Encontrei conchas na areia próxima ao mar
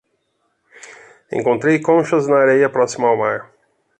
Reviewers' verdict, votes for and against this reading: accepted, 2, 0